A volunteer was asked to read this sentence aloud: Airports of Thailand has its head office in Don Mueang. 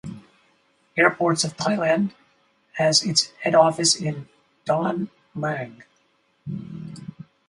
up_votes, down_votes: 2, 2